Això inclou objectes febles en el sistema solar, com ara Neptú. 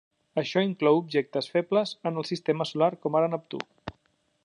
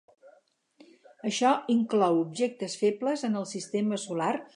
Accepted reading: first